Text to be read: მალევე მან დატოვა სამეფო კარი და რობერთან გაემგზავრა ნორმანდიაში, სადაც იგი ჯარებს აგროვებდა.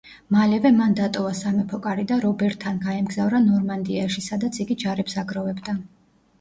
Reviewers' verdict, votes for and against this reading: accepted, 2, 0